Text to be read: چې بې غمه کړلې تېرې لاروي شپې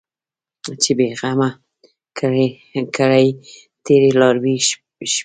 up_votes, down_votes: 0, 2